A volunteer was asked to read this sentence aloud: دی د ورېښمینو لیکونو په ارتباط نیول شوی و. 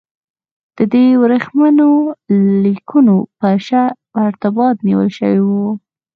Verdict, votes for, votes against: accepted, 4, 0